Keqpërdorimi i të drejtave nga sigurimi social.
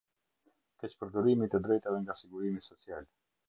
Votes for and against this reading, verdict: 2, 0, accepted